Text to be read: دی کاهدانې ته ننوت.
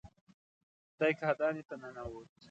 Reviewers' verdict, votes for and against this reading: accepted, 2, 0